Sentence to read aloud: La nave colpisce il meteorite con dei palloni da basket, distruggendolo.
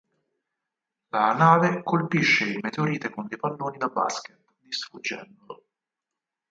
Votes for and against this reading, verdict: 4, 0, accepted